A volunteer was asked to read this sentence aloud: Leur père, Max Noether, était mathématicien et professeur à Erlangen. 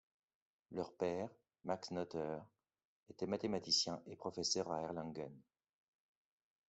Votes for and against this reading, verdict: 2, 0, accepted